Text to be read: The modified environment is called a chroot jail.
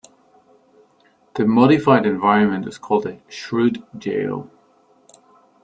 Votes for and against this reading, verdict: 0, 2, rejected